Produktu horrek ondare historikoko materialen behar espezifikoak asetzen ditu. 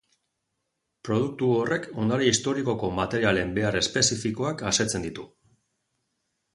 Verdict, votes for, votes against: accepted, 2, 0